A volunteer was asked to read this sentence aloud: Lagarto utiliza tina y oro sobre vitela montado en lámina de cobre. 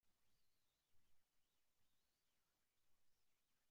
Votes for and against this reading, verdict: 1, 2, rejected